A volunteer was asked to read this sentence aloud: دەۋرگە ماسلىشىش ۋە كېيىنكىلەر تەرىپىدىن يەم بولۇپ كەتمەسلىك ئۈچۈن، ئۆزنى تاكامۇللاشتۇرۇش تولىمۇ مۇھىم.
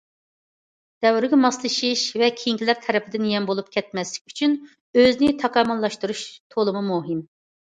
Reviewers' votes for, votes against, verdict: 2, 0, accepted